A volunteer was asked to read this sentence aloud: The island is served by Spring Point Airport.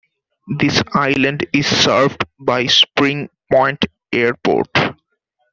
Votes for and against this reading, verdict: 0, 2, rejected